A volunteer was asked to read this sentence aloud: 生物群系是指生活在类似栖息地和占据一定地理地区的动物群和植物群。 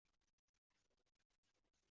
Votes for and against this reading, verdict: 0, 5, rejected